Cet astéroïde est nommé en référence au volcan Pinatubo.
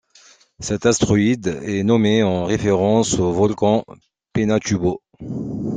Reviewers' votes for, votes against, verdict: 0, 2, rejected